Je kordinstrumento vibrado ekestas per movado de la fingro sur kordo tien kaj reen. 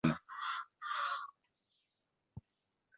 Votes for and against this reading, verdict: 1, 2, rejected